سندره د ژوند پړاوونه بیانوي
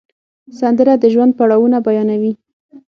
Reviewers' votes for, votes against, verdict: 6, 0, accepted